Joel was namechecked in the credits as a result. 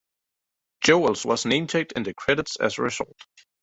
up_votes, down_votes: 0, 2